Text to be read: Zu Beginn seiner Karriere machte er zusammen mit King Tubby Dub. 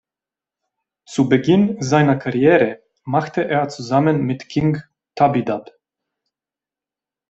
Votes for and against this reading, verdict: 2, 0, accepted